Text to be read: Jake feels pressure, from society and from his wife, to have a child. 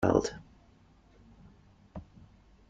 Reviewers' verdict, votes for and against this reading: rejected, 0, 2